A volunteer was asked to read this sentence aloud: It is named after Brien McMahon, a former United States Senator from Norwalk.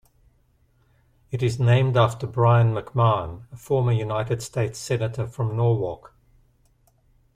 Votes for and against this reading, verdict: 2, 0, accepted